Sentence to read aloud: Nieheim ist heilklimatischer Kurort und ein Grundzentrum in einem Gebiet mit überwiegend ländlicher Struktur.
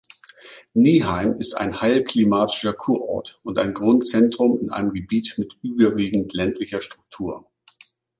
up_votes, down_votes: 1, 2